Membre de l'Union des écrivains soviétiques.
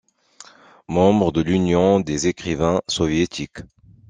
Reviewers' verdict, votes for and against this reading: accepted, 2, 0